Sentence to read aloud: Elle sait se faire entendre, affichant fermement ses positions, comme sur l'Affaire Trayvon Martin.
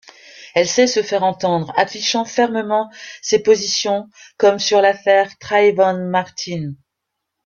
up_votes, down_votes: 2, 0